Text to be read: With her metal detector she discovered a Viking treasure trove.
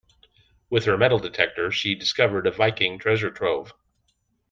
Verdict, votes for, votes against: accepted, 2, 0